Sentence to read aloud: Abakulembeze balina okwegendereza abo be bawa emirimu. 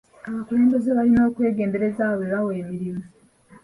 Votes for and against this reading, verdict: 2, 1, accepted